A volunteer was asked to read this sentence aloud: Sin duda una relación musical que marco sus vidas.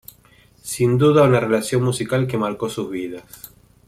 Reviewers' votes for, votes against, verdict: 2, 0, accepted